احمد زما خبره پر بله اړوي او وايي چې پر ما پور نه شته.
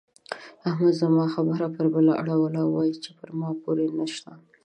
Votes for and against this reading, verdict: 1, 2, rejected